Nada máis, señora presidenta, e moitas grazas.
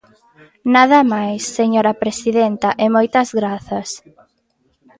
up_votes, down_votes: 2, 0